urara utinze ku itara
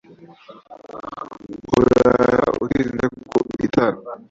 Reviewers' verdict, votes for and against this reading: rejected, 1, 2